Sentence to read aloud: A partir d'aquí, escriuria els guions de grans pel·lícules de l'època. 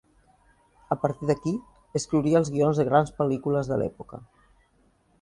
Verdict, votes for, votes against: accepted, 2, 0